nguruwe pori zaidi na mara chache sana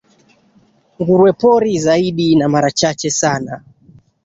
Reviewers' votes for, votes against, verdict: 2, 1, accepted